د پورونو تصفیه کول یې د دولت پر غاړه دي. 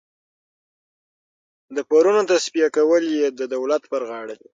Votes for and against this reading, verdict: 6, 0, accepted